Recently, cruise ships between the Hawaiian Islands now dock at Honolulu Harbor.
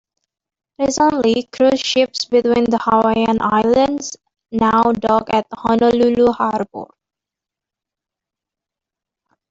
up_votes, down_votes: 2, 1